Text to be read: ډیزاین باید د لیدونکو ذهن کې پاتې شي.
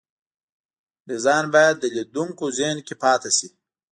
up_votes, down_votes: 2, 0